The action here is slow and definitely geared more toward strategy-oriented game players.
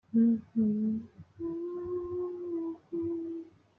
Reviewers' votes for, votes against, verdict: 0, 2, rejected